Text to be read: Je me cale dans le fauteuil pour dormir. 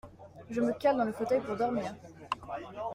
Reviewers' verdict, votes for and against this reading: accepted, 2, 0